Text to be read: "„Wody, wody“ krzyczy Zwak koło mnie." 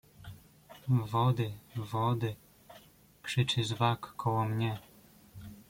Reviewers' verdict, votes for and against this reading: accepted, 2, 1